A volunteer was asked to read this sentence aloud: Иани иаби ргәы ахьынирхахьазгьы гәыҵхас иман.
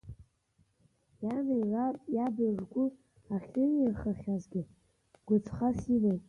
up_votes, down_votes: 2, 1